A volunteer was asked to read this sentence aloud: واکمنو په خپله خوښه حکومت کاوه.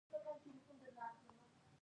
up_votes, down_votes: 1, 2